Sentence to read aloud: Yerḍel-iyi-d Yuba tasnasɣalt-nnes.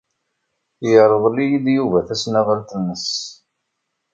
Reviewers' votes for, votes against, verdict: 0, 2, rejected